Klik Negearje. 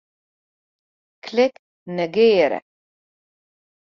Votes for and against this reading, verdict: 0, 2, rejected